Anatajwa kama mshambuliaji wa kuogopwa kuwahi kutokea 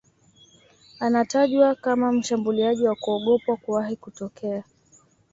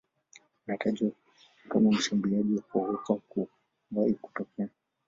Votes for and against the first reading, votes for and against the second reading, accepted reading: 2, 0, 1, 2, first